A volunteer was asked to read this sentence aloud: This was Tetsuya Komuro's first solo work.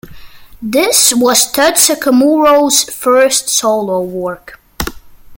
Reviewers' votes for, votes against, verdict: 1, 2, rejected